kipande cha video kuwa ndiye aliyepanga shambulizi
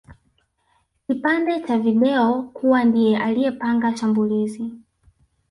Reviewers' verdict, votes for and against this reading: rejected, 0, 2